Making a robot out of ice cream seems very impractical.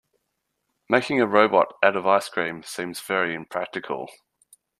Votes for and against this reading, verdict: 2, 0, accepted